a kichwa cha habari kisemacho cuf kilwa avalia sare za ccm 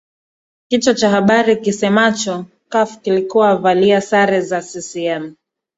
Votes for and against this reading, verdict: 1, 2, rejected